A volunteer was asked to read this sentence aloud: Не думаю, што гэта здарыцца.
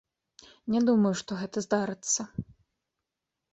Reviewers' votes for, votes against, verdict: 2, 0, accepted